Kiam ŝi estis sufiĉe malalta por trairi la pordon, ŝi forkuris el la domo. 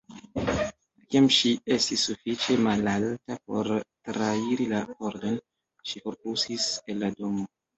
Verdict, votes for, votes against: rejected, 0, 2